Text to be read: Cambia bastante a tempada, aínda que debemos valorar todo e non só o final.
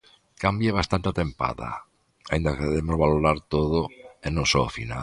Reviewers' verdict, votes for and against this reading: rejected, 0, 2